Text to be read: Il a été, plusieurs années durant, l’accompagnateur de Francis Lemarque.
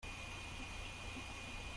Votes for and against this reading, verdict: 0, 2, rejected